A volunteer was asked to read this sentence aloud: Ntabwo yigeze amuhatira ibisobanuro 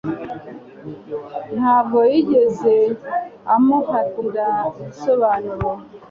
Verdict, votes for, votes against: accepted, 4, 0